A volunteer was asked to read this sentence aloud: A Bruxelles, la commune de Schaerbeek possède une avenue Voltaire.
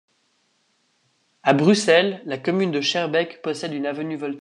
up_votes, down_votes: 1, 2